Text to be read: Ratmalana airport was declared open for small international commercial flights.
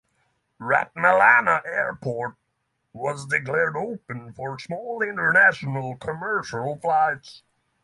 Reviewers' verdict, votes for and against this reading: accepted, 3, 0